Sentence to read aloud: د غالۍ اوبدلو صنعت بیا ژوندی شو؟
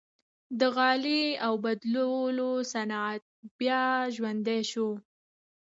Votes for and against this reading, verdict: 1, 2, rejected